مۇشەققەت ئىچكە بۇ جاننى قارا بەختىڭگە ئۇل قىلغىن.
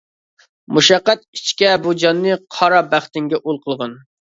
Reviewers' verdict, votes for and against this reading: rejected, 1, 2